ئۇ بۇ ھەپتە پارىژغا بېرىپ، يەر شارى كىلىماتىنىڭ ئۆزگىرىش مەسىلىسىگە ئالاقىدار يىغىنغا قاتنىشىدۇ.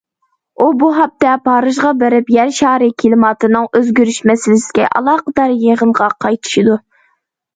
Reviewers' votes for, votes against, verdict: 0, 2, rejected